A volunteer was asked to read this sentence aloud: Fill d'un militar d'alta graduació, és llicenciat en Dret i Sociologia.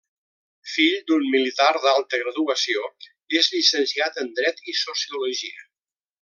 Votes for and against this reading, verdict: 2, 0, accepted